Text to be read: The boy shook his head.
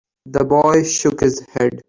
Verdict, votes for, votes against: accepted, 2, 1